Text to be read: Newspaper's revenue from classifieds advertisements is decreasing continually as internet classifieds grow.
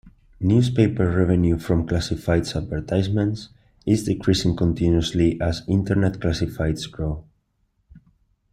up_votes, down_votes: 1, 2